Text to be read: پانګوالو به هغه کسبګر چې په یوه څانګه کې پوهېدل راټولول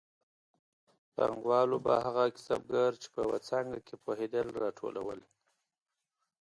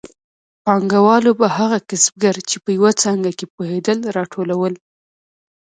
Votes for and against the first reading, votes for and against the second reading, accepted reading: 2, 0, 1, 2, first